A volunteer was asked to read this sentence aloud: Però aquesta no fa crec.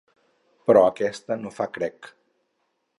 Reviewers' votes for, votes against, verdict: 2, 2, rejected